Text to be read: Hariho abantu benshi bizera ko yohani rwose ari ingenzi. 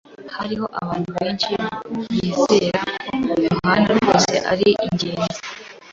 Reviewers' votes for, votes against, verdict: 0, 2, rejected